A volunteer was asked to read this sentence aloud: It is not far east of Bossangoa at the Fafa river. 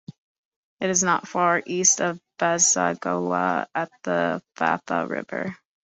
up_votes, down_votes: 2, 0